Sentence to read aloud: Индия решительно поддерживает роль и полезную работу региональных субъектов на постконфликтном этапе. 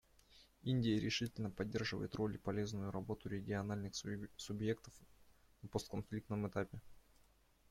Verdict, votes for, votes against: rejected, 0, 2